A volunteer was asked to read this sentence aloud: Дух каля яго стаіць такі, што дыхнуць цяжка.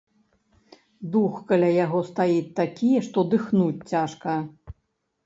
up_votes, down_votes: 2, 1